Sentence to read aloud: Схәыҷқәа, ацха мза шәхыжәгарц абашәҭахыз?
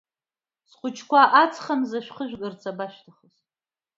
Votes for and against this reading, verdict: 1, 2, rejected